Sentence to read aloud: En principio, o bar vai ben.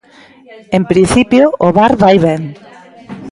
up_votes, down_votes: 3, 0